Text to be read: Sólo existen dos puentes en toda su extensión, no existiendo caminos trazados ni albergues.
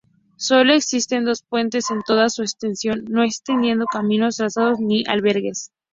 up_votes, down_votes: 2, 2